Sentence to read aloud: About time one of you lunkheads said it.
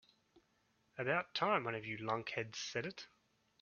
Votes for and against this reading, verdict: 3, 0, accepted